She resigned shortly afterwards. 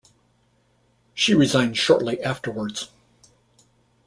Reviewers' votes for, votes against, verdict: 2, 0, accepted